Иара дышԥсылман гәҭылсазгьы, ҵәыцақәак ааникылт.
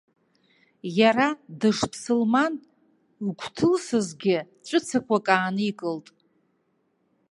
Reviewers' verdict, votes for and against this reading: rejected, 1, 2